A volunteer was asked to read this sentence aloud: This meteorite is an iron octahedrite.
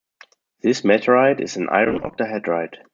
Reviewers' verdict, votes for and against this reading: accepted, 2, 0